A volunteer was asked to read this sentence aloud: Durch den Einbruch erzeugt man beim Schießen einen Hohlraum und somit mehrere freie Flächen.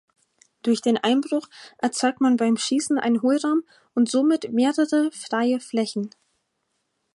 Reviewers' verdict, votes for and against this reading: rejected, 2, 4